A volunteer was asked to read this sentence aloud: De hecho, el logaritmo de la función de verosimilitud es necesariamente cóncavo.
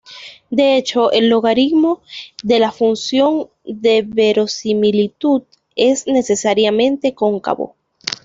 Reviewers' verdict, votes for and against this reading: accepted, 2, 0